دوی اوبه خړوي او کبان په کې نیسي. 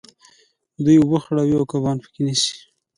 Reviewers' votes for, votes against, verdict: 2, 1, accepted